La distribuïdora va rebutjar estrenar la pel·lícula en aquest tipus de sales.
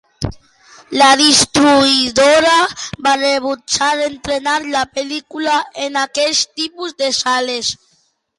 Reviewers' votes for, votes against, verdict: 0, 2, rejected